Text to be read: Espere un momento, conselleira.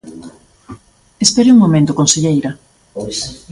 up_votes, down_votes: 0, 2